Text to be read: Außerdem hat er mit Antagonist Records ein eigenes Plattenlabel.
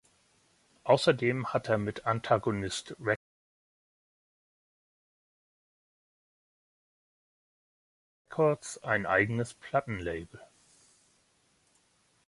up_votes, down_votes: 0, 4